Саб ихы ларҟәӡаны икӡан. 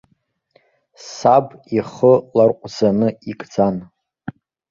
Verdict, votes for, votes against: accepted, 2, 0